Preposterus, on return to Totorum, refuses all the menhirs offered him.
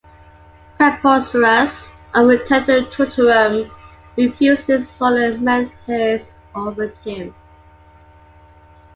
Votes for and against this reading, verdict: 2, 0, accepted